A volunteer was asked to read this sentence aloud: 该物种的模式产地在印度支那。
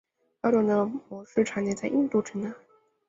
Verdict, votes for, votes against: rejected, 0, 2